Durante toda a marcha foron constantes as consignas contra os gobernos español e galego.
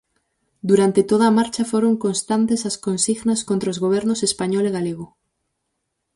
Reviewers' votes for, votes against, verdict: 4, 0, accepted